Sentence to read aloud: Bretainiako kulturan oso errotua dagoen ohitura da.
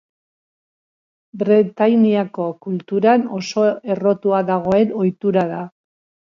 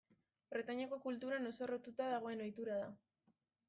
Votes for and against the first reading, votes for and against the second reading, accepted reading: 4, 0, 1, 2, first